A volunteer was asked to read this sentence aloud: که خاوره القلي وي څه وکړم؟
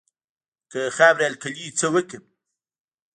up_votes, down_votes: 1, 2